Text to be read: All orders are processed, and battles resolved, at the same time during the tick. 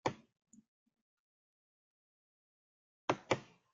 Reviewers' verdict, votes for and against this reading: rejected, 0, 3